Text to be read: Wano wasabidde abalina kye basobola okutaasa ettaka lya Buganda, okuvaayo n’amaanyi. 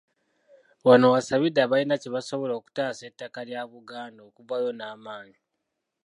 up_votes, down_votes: 0, 2